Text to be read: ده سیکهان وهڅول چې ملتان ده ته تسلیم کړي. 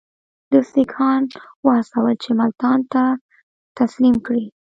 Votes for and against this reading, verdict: 1, 2, rejected